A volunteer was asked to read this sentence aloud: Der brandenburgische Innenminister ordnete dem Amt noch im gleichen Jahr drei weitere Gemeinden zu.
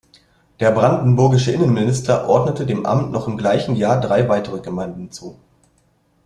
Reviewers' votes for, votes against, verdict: 2, 0, accepted